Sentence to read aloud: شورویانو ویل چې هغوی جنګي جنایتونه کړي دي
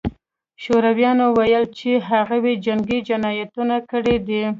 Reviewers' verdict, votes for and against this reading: accepted, 2, 0